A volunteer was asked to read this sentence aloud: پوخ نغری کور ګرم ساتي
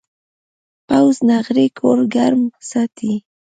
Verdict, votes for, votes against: rejected, 0, 2